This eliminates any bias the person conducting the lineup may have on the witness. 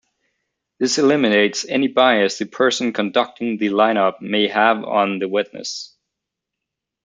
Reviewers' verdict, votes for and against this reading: accepted, 2, 0